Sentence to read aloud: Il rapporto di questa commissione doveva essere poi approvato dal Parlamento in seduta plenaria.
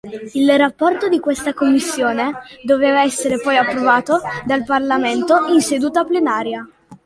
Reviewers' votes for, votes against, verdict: 2, 1, accepted